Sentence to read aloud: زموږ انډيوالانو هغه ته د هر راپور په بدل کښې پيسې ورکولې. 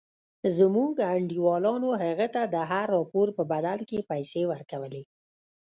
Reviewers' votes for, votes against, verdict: 2, 0, accepted